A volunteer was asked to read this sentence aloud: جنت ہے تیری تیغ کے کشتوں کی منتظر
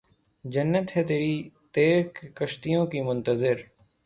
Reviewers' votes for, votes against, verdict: 0, 3, rejected